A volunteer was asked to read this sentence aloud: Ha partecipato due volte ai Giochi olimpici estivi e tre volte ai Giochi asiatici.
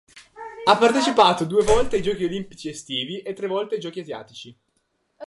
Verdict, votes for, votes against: rejected, 0, 2